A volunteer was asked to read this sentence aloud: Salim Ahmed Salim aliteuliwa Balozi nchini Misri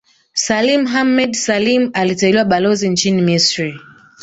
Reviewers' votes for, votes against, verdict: 2, 1, accepted